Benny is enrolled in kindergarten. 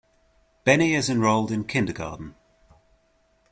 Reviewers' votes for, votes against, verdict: 2, 0, accepted